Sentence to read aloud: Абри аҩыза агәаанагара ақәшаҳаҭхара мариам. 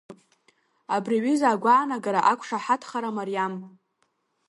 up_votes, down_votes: 2, 0